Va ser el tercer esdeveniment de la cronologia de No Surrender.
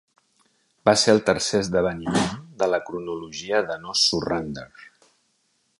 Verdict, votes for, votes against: rejected, 1, 2